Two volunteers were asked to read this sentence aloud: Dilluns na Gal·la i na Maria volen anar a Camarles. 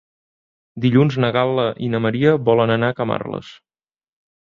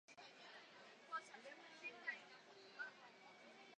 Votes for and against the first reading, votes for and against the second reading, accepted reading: 2, 0, 0, 2, first